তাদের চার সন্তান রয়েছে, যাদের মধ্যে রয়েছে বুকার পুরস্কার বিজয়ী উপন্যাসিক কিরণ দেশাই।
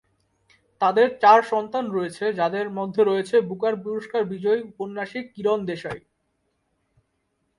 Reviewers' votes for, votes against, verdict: 8, 1, accepted